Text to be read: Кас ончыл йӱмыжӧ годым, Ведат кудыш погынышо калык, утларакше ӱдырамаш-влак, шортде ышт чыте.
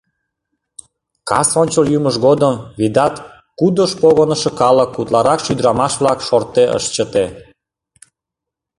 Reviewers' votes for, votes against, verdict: 0, 2, rejected